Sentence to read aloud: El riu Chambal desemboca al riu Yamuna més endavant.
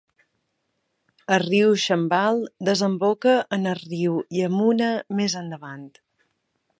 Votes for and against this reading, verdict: 1, 2, rejected